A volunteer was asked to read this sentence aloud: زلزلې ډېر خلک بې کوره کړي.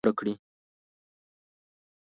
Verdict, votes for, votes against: rejected, 1, 3